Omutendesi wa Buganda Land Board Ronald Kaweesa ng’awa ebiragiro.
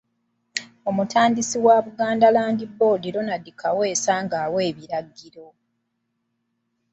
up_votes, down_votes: 0, 2